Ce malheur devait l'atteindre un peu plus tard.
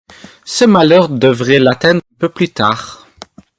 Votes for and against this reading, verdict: 2, 0, accepted